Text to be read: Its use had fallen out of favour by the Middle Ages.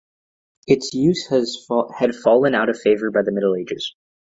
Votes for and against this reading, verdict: 0, 2, rejected